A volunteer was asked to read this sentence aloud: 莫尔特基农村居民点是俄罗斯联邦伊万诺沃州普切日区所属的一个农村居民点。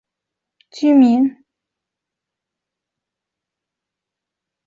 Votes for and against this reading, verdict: 0, 2, rejected